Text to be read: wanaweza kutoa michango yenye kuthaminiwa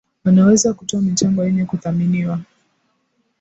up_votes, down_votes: 2, 0